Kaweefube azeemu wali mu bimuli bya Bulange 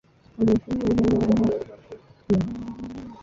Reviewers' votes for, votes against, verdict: 0, 2, rejected